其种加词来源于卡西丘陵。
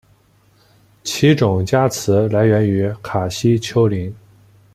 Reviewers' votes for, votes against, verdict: 2, 0, accepted